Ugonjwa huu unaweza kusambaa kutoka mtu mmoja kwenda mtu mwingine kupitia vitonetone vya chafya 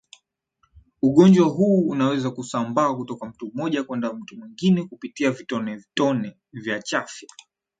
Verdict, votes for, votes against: accepted, 7, 2